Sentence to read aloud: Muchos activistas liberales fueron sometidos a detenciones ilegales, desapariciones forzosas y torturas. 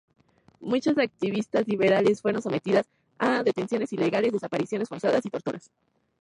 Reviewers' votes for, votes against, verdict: 2, 0, accepted